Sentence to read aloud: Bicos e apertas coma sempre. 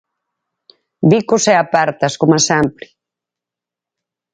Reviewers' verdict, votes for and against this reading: accepted, 4, 0